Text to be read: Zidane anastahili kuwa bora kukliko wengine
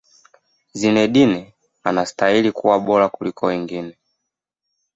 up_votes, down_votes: 0, 2